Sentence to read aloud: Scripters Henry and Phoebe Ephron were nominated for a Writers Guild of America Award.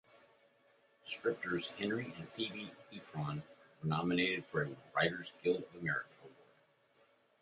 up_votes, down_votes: 1, 2